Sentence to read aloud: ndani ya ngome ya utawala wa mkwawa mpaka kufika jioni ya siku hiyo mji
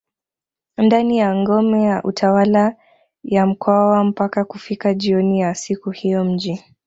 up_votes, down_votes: 2, 0